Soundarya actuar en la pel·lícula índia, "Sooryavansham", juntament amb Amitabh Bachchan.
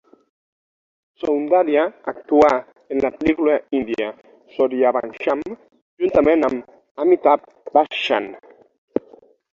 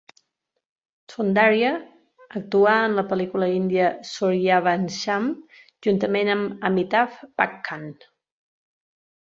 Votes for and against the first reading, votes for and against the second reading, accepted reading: 3, 6, 2, 0, second